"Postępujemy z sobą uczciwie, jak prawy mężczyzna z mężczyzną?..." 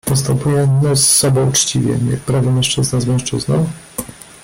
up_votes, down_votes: 1, 2